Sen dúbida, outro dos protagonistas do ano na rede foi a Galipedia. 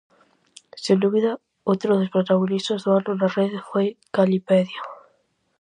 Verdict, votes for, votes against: rejected, 0, 4